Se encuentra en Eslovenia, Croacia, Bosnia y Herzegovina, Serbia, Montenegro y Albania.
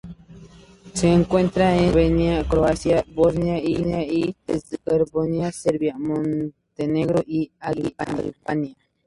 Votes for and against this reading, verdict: 0, 2, rejected